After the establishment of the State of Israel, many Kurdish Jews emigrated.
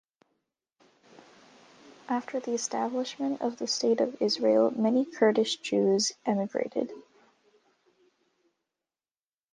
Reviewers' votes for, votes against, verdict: 2, 0, accepted